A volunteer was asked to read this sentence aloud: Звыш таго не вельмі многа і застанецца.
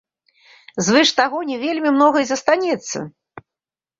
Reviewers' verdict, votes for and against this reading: accepted, 2, 0